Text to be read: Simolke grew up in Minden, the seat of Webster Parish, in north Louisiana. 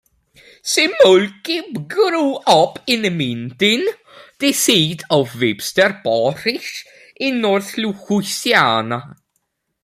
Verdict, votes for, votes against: rejected, 0, 2